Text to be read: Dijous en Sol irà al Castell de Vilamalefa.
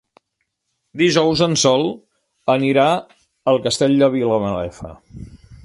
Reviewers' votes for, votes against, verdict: 1, 2, rejected